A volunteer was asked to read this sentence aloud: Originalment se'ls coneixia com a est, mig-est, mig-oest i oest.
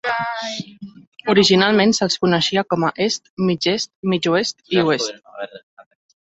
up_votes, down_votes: 1, 3